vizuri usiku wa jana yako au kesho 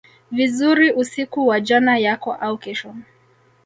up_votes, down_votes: 1, 2